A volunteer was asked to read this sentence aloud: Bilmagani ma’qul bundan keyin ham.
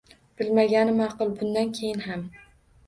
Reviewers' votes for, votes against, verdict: 2, 0, accepted